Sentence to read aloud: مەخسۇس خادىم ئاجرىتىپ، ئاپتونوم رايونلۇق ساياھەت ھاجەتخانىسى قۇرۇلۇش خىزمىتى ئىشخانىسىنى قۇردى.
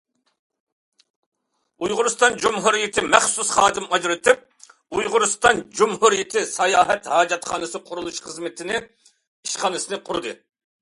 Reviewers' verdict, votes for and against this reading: rejected, 0, 2